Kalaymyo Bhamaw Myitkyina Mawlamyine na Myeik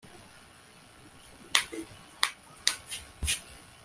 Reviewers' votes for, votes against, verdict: 0, 2, rejected